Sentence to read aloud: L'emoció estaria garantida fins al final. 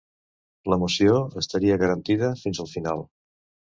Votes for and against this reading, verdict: 2, 0, accepted